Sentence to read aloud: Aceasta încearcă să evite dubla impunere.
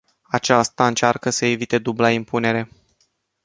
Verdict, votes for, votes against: rejected, 0, 2